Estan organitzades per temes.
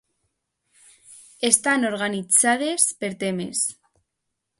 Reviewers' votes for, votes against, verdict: 2, 0, accepted